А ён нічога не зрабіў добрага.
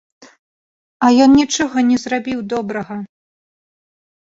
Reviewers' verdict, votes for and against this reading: accepted, 2, 0